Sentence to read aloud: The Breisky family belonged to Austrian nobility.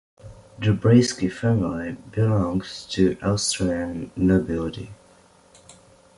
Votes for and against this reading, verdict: 2, 3, rejected